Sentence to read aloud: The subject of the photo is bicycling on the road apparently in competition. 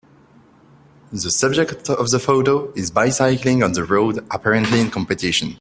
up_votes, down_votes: 2, 1